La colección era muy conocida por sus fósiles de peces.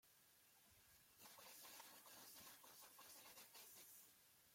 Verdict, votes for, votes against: rejected, 0, 2